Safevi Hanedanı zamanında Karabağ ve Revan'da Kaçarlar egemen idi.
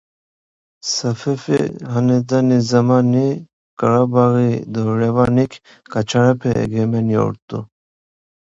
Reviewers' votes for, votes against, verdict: 0, 2, rejected